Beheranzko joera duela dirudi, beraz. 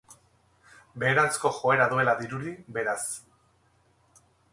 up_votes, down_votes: 0, 2